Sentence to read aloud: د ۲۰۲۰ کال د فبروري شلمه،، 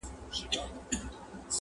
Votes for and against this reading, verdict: 0, 2, rejected